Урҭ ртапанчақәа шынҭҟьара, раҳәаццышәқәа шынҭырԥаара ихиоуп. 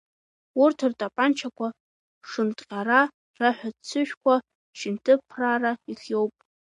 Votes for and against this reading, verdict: 1, 2, rejected